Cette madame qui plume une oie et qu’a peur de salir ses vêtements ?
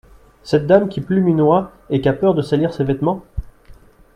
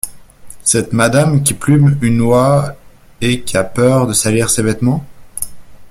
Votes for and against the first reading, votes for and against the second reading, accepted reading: 2, 0, 1, 2, first